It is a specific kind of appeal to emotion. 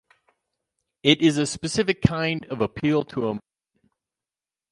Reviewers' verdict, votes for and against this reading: rejected, 0, 4